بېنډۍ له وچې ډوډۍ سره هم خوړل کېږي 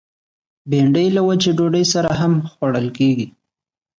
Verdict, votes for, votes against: accepted, 2, 0